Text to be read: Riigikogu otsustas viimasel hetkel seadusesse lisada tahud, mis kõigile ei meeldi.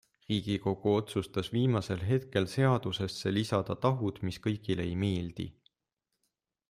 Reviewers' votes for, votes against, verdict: 2, 0, accepted